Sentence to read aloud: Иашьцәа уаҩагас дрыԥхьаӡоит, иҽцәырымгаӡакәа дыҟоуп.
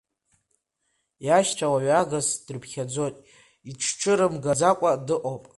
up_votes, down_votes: 2, 0